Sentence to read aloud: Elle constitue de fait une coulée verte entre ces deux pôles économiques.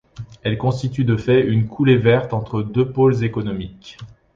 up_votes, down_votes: 1, 2